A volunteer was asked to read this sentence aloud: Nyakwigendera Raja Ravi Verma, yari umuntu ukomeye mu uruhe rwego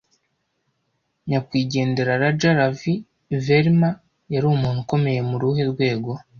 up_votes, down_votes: 2, 0